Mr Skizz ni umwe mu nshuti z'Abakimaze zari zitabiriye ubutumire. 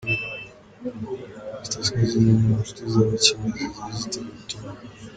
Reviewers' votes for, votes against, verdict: 0, 2, rejected